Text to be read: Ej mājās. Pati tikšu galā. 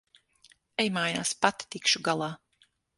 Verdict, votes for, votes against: accepted, 6, 0